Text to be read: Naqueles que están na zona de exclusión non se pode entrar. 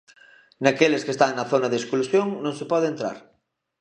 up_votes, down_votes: 2, 0